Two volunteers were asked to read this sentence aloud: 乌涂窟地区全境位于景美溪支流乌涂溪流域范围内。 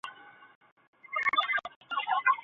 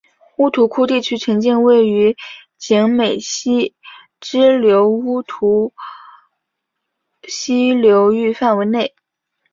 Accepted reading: second